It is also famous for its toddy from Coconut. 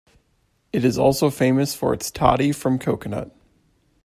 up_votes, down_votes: 2, 0